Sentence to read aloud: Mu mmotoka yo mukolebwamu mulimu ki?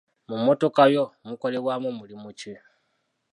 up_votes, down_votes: 2, 0